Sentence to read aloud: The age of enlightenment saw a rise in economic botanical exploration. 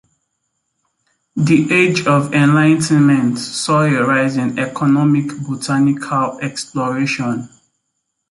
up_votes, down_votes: 2, 0